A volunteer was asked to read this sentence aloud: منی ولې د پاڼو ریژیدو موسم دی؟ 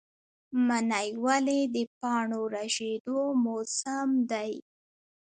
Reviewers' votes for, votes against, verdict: 1, 2, rejected